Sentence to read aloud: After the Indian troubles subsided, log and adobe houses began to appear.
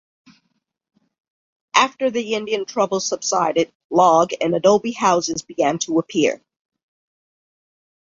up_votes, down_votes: 2, 0